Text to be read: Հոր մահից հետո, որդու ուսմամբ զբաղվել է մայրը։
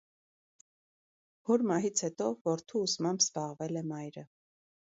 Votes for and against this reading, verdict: 2, 0, accepted